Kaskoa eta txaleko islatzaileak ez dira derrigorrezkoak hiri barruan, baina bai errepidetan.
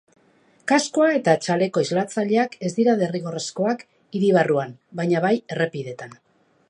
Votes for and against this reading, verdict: 4, 0, accepted